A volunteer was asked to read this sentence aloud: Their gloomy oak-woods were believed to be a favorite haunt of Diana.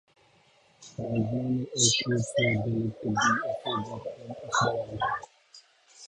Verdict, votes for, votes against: rejected, 0, 2